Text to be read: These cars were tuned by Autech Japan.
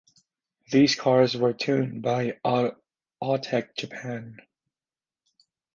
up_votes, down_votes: 0, 2